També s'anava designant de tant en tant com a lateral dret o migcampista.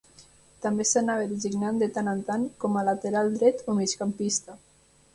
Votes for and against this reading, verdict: 0, 2, rejected